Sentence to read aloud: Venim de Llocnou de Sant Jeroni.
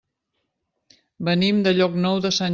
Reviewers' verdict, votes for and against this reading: rejected, 0, 2